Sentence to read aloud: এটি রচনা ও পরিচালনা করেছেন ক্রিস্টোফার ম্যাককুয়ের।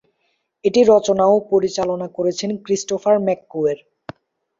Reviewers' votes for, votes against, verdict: 3, 0, accepted